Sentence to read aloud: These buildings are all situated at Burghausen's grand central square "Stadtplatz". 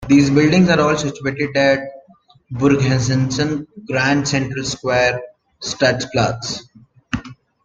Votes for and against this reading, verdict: 2, 1, accepted